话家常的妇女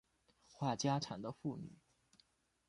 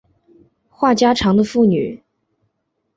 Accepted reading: second